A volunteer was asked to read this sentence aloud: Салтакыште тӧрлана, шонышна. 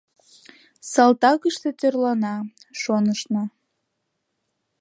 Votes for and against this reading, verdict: 2, 0, accepted